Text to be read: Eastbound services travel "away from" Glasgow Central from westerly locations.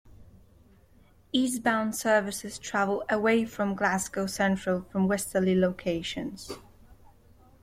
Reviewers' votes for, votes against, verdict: 2, 0, accepted